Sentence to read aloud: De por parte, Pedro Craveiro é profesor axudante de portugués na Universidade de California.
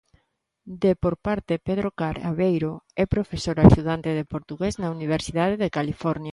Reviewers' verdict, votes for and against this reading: rejected, 0, 2